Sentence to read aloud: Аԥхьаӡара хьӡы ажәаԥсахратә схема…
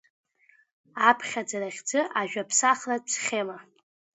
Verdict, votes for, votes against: accepted, 2, 0